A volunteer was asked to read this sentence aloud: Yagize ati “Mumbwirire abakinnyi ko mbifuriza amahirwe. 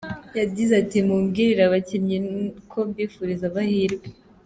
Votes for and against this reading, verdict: 2, 0, accepted